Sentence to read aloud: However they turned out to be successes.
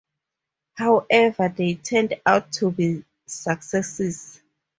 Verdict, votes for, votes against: accepted, 2, 0